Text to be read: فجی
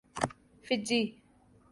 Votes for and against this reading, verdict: 2, 0, accepted